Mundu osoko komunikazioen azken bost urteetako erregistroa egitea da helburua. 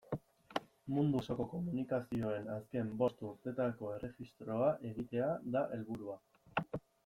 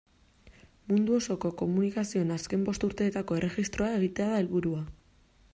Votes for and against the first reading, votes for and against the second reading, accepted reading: 0, 2, 2, 0, second